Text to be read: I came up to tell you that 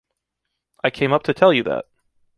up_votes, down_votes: 1, 2